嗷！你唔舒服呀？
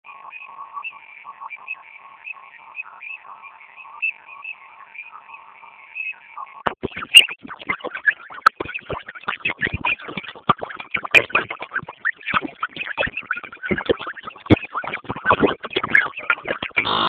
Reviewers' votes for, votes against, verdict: 0, 2, rejected